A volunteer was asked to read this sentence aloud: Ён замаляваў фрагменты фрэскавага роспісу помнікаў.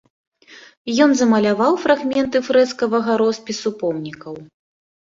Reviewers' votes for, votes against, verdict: 2, 0, accepted